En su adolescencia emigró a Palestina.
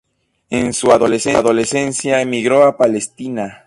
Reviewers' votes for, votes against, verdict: 0, 6, rejected